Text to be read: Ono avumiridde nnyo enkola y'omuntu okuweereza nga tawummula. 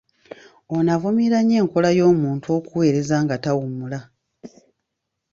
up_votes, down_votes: 0, 2